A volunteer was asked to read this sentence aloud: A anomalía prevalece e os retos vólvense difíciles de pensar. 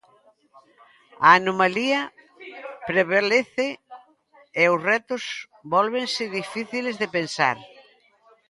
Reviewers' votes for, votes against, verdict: 0, 2, rejected